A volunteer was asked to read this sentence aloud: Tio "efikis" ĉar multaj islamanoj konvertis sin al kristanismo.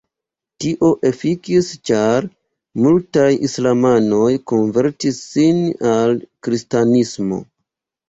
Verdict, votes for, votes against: accepted, 2, 0